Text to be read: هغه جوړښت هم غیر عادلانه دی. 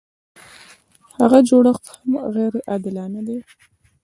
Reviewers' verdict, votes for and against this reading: accepted, 2, 0